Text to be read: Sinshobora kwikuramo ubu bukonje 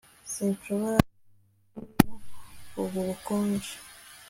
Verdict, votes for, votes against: rejected, 1, 2